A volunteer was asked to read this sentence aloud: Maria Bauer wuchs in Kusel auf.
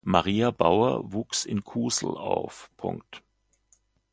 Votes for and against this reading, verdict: 0, 2, rejected